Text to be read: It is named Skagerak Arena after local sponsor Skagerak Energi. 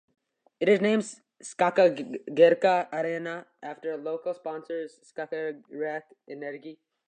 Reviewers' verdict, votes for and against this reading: rejected, 1, 2